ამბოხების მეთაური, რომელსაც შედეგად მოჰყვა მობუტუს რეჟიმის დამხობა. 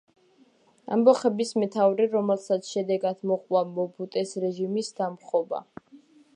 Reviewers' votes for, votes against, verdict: 2, 1, accepted